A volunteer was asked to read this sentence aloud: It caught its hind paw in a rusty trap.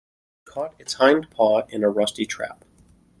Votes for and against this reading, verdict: 0, 2, rejected